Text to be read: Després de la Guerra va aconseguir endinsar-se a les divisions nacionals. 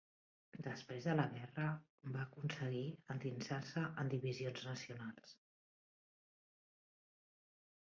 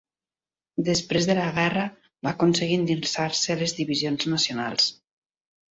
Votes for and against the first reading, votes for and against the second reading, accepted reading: 0, 2, 3, 0, second